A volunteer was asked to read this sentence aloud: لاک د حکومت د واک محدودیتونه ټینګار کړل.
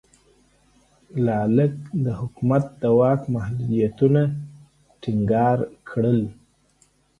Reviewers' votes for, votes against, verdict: 1, 2, rejected